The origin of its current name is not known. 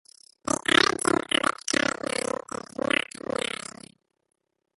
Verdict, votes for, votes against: rejected, 1, 2